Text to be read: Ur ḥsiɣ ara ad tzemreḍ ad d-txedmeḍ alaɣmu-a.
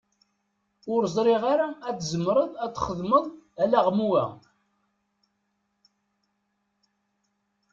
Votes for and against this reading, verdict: 0, 2, rejected